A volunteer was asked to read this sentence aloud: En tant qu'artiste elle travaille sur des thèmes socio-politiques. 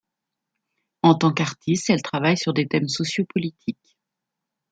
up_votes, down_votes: 2, 0